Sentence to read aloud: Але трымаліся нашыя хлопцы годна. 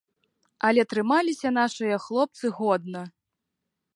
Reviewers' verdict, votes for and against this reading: accepted, 3, 0